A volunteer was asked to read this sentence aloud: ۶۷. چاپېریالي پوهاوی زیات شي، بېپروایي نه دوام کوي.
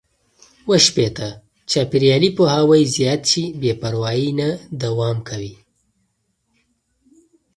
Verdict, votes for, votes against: rejected, 0, 2